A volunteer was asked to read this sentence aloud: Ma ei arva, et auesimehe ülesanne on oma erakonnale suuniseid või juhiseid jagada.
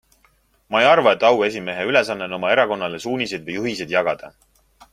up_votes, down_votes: 3, 0